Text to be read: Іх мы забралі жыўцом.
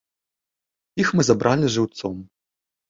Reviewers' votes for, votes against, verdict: 3, 0, accepted